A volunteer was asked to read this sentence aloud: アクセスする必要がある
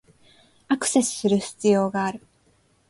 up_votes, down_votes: 5, 0